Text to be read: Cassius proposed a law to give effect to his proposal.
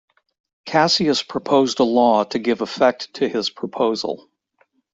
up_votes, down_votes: 2, 0